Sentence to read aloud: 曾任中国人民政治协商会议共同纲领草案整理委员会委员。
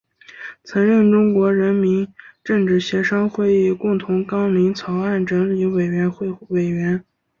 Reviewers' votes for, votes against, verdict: 2, 0, accepted